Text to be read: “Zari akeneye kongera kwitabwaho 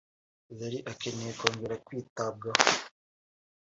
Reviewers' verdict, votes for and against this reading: accepted, 2, 0